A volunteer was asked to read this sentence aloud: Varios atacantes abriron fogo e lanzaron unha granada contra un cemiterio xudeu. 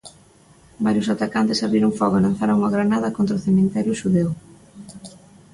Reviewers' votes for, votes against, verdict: 2, 1, accepted